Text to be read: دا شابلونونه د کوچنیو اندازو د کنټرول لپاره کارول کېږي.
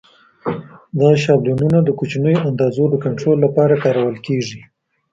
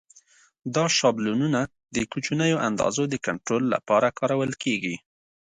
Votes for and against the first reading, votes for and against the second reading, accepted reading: 0, 2, 2, 0, second